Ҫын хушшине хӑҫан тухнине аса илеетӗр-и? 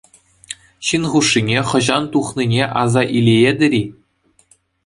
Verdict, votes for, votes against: accepted, 2, 0